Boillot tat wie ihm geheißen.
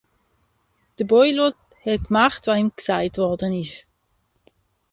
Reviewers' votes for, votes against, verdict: 0, 2, rejected